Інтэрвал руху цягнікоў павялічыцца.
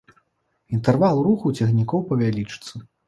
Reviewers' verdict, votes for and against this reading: accepted, 2, 0